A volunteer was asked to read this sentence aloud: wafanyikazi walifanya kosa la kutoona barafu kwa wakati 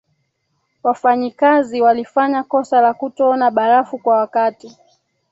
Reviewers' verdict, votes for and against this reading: rejected, 1, 2